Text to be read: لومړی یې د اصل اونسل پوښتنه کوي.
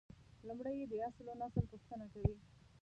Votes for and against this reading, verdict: 1, 2, rejected